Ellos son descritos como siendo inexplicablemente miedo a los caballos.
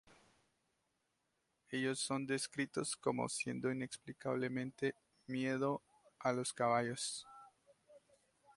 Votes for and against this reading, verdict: 2, 2, rejected